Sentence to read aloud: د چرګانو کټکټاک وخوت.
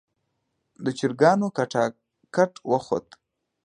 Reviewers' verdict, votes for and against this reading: accepted, 2, 0